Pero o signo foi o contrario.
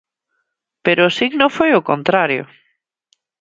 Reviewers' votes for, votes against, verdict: 2, 0, accepted